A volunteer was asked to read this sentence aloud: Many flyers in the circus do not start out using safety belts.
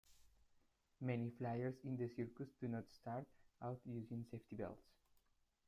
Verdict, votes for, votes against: rejected, 0, 2